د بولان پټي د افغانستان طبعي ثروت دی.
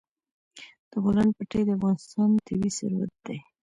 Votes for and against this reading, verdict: 0, 2, rejected